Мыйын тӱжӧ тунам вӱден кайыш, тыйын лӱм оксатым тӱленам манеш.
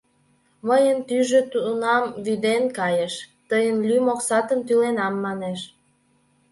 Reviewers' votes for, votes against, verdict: 2, 0, accepted